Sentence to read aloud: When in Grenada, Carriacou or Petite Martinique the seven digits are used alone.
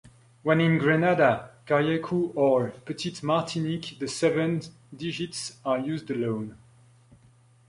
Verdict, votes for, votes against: rejected, 0, 3